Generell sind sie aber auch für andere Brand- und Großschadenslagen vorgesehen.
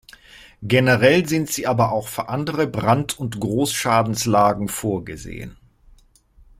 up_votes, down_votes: 0, 2